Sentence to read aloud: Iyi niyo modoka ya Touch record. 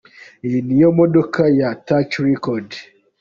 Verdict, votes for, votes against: accepted, 2, 0